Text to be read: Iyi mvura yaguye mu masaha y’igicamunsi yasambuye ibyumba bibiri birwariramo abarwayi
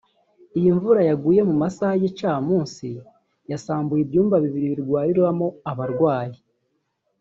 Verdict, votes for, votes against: rejected, 0, 2